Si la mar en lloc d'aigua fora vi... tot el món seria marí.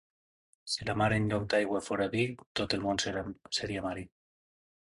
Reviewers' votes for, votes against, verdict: 2, 0, accepted